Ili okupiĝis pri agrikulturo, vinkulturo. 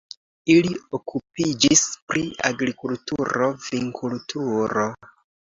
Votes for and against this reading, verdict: 2, 0, accepted